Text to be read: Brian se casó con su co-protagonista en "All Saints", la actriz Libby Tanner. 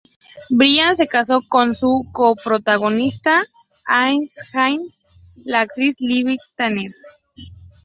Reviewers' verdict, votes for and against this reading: rejected, 0, 2